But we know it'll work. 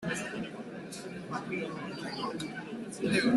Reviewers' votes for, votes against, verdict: 0, 2, rejected